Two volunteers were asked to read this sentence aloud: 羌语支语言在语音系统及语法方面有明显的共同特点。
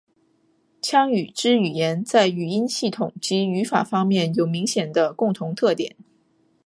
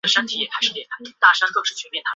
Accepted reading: first